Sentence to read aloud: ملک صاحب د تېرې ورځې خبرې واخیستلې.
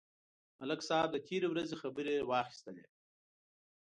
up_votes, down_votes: 3, 0